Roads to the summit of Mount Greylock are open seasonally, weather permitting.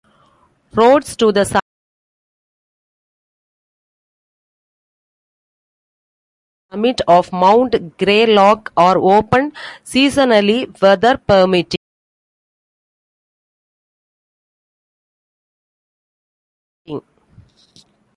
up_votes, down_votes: 1, 2